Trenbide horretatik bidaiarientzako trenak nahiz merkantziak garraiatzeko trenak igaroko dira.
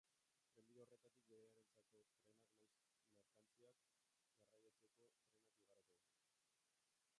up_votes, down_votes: 0, 2